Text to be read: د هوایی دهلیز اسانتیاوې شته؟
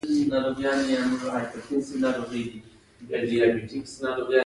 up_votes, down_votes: 1, 2